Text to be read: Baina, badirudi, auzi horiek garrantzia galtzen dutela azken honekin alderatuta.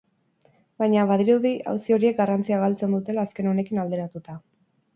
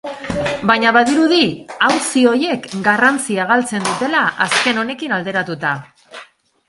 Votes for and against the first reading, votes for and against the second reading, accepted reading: 2, 0, 0, 4, first